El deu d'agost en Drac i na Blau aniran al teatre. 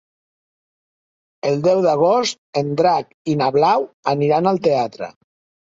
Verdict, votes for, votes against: accepted, 3, 0